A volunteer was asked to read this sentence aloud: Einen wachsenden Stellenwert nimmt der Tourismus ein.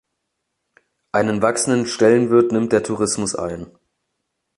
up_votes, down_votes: 0, 2